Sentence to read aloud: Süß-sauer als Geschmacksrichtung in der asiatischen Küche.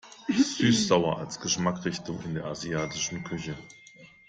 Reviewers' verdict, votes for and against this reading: rejected, 1, 2